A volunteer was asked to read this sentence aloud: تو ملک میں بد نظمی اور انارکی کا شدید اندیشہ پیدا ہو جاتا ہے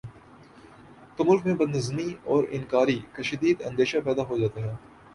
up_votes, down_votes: 2, 0